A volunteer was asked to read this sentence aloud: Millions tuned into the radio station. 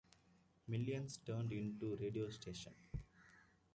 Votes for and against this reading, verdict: 0, 2, rejected